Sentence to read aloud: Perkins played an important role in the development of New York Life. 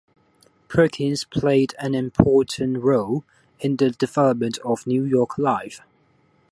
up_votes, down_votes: 2, 1